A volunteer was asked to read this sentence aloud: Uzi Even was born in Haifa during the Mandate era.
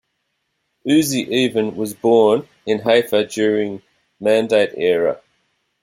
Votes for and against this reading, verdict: 1, 2, rejected